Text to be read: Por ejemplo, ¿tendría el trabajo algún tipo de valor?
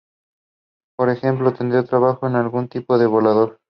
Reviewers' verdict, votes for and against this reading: accepted, 2, 0